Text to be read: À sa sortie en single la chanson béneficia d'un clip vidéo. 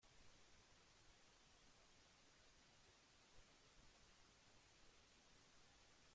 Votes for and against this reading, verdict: 0, 2, rejected